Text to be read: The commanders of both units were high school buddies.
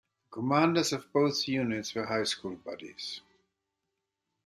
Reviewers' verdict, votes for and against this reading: accepted, 2, 1